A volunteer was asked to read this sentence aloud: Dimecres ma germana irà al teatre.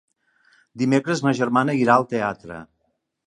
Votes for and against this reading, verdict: 2, 0, accepted